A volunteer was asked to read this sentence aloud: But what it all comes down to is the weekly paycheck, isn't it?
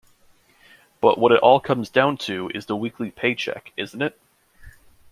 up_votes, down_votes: 2, 0